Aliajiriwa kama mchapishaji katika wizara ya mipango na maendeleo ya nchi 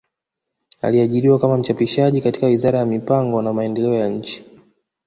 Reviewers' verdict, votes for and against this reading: accepted, 2, 1